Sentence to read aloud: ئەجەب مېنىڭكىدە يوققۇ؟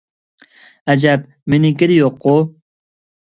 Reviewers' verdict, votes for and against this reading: accepted, 2, 1